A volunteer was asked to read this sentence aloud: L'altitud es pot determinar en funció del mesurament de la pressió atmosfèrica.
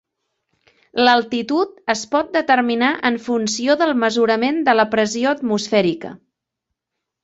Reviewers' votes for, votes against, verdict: 1, 2, rejected